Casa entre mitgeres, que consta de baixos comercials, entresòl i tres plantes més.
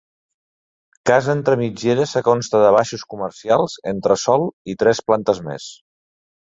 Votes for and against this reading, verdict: 2, 0, accepted